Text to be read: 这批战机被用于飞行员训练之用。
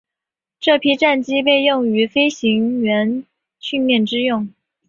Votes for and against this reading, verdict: 5, 0, accepted